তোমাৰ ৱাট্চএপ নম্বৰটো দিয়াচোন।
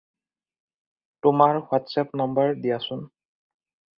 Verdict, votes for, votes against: rejected, 0, 2